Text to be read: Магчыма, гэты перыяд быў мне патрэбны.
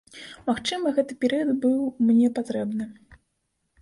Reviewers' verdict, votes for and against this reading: accepted, 2, 0